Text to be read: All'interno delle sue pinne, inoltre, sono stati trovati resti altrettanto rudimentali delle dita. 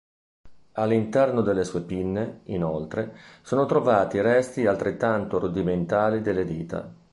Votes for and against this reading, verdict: 0, 2, rejected